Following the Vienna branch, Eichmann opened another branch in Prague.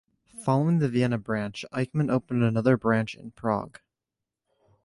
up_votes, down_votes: 3, 0